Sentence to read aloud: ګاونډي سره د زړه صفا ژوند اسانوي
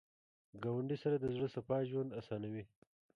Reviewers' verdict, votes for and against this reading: rejected, 1, 2